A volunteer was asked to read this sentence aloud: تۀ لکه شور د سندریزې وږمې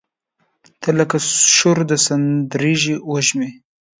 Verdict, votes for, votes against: rejected, 2, 3